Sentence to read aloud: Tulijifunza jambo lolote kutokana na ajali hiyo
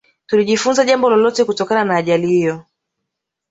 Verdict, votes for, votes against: accepted, 2, 0